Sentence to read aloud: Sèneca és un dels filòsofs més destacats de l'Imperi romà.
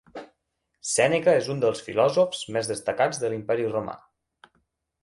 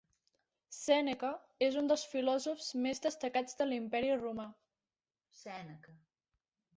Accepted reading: first